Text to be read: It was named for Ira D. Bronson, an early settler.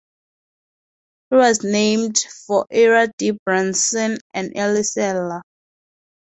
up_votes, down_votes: 2, 0